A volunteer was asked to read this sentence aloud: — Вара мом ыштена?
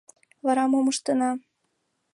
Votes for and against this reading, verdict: 2, 0, accepted